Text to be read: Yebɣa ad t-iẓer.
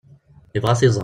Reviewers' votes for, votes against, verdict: 1, 2, rejected